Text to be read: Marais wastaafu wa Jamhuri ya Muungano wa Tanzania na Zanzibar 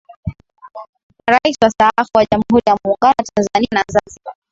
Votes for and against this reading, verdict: 2, 2, rejected